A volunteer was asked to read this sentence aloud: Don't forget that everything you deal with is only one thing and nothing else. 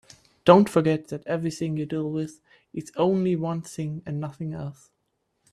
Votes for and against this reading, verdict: 40, 3, accepted